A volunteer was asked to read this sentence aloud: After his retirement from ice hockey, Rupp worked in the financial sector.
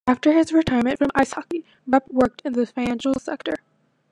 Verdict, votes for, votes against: rejected, 0, 2